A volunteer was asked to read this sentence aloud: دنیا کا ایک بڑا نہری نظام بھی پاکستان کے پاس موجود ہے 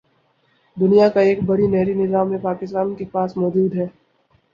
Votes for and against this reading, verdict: 10, 0, accepted